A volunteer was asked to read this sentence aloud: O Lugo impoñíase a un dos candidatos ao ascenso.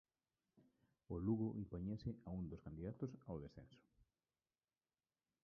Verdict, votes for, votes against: rejected, 0, 2